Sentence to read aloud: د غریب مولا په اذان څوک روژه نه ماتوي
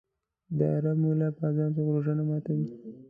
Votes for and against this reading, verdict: 0, 2, rejected